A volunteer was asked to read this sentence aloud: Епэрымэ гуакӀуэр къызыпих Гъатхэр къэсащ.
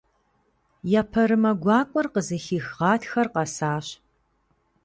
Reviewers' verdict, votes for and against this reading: rejected, 1, 2